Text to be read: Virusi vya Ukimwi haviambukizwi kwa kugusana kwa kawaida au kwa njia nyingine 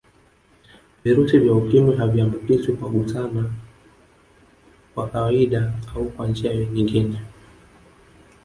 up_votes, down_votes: 0, 3